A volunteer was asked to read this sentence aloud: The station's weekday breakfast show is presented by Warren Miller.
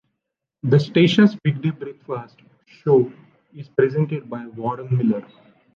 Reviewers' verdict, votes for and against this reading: rejected, 0, 2